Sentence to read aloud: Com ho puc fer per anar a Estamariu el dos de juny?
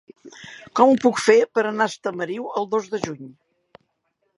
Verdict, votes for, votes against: accepted, 2, 0